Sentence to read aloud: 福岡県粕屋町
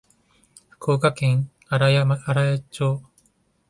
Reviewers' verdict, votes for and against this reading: rejected, 1, 2